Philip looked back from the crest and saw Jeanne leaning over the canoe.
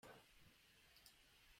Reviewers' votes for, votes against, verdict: 0, 2, rejected